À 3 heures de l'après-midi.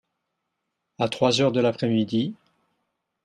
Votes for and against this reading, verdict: 0, 2, rejected